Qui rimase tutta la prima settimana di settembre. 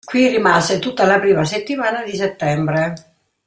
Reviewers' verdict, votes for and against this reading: accepted, 2, 0